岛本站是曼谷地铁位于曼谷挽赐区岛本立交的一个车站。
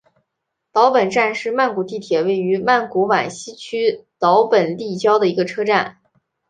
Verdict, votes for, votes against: accepted, 3, 1